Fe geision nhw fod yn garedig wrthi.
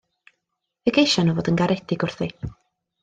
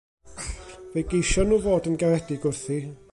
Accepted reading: first